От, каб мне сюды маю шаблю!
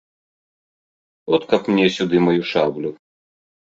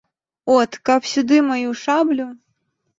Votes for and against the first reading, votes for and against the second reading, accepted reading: 3, 0, 1, 2, first